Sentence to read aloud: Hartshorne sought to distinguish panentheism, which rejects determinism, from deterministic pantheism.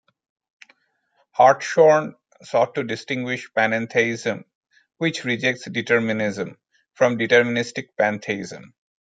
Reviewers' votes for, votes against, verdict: 2, 3, rejected